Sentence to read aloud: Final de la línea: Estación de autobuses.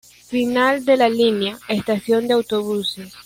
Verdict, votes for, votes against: accepted, 2, 0